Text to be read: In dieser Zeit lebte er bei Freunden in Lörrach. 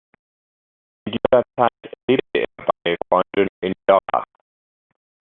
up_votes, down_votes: 0, 2